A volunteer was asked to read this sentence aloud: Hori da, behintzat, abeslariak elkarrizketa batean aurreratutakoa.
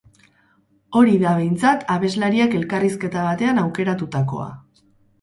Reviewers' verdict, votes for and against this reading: rejected, 0, 4